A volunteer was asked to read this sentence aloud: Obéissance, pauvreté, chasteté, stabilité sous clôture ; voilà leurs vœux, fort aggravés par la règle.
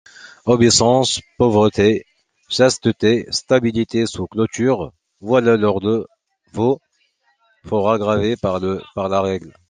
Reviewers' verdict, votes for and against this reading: rejected, 0, 2